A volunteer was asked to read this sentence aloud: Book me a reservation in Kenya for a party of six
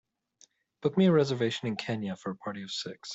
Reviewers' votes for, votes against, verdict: 4, 0, accepted